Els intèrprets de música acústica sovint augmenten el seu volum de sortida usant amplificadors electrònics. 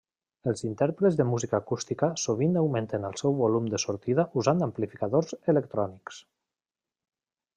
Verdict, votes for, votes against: accepted, 2, 0